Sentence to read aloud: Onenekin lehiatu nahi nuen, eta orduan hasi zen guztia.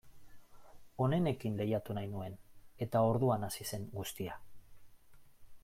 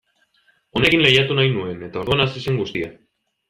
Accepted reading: first